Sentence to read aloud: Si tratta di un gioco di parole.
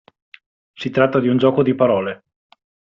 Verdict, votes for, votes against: accepted, 2, 0